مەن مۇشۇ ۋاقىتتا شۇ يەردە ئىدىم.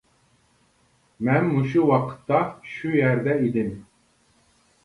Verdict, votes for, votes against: accepted, 2, 0